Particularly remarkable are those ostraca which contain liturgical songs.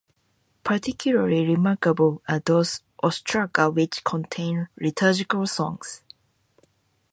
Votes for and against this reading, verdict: 2, 0, accepted